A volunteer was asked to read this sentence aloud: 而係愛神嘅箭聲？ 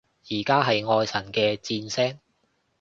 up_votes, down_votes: 0, 2